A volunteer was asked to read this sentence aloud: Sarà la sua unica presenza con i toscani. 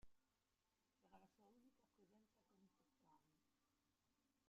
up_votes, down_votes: 0, 2